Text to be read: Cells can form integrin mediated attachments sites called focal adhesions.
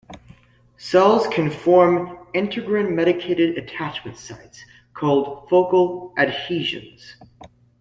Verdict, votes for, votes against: rejected, 0, 2